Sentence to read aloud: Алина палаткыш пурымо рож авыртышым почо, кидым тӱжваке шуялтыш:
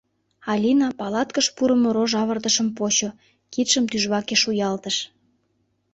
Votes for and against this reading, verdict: 0, 2, rejected